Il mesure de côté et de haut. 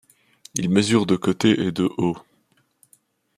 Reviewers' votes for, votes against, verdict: 2, 0, accepted